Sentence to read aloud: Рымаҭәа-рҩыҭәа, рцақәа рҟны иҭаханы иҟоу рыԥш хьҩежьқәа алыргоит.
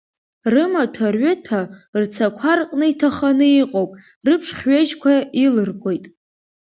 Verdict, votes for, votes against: rejected, 0, 2